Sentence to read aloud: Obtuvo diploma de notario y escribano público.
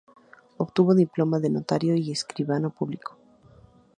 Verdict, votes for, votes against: accepted, 2, 0